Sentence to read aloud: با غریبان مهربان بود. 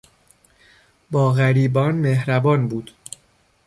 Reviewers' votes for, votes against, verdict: 2, 0, accepted